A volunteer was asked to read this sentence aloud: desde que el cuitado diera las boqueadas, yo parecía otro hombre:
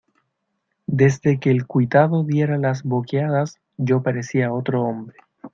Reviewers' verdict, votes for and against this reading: accepted, 2, 1